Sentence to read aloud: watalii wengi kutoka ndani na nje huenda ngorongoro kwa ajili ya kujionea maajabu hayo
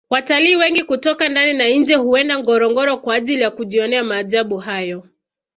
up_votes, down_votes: 3, 2